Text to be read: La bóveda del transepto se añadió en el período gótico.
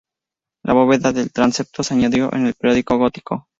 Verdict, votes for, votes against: rejected, 0, 2